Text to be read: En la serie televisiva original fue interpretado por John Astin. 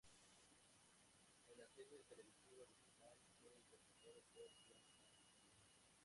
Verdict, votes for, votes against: rejected, 0, 2